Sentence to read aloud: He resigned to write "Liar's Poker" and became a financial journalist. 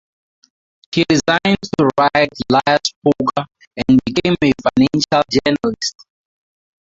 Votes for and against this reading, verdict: 0, 4, rejected